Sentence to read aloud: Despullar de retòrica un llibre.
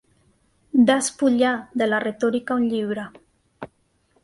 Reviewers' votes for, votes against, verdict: 1, 2, rejected